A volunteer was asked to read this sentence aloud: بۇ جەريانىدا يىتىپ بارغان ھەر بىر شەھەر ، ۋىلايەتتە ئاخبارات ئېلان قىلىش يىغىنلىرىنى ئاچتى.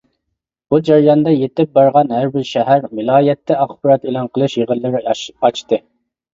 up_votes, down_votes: 0, 2